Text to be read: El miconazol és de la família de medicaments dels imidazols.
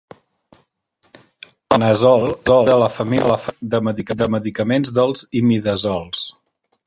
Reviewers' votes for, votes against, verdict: 0, 2, rejected